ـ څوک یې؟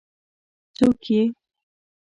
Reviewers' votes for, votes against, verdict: 2, 1, accepted